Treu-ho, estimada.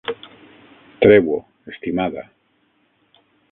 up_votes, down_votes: 6, 0